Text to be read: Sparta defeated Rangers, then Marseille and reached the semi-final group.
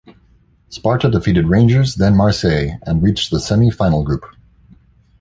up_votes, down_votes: 2, 0